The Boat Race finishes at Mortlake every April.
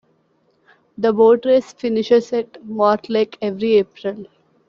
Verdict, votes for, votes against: accepted, 2, 0